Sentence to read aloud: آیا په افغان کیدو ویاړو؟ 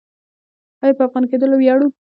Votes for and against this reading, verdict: 1, 2, rejected